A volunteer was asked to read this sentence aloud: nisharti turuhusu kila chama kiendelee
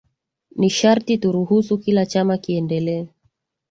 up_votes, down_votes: 8, 3